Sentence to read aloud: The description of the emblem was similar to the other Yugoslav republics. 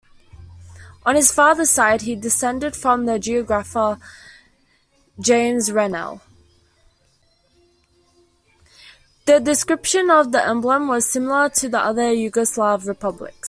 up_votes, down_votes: 1, 2